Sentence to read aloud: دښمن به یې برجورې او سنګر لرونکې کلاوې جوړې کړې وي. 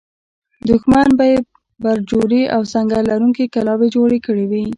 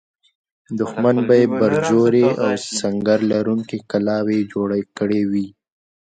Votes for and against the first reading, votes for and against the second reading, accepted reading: 0, 2, 2, 1, second